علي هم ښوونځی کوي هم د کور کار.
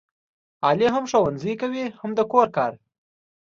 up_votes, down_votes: 2, 0